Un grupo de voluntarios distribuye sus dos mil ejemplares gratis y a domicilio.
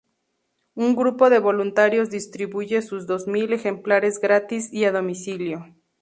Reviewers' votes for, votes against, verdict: 2, 0, accepted